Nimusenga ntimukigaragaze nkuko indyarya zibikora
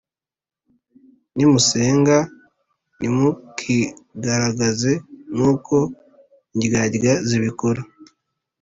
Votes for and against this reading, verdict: 2, 0, accepted